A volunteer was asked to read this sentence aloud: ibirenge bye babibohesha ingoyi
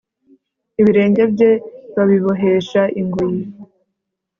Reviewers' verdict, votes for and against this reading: accepted, 3, 1